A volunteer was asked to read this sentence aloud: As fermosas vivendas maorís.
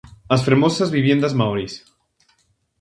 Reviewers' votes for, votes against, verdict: 0, 2, rejected